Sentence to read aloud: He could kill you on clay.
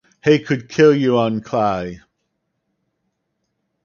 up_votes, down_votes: 4, 0